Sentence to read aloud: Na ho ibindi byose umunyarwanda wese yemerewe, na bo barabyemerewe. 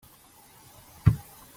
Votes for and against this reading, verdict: 0, 3, rejected